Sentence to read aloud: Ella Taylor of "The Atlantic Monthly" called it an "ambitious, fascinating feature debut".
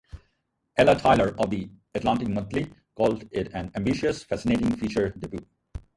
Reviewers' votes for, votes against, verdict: 0, 2, rejected